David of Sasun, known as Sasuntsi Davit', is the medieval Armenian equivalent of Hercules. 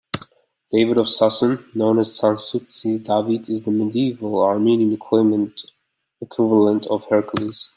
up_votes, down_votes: 2, 0